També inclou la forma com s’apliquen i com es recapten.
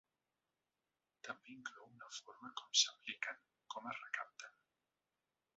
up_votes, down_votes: 1, 2